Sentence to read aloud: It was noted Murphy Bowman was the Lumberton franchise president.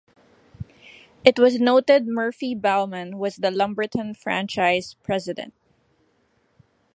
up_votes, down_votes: 2, 0